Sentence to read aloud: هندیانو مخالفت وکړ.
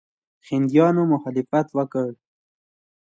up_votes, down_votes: 2, 0